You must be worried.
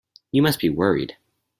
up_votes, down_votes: 4, 0